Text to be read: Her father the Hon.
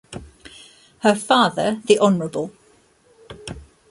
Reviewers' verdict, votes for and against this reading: accepted, 2, 1